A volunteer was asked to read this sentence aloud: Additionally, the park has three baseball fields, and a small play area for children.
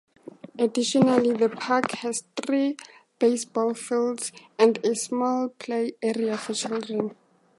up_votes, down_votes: 2, 0